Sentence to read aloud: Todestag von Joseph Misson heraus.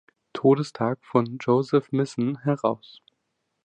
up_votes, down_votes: 2, 1